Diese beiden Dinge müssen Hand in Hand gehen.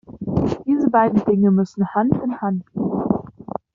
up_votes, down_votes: 1, 2